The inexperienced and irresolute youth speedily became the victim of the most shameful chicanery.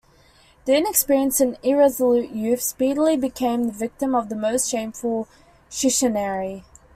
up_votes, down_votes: 0, 2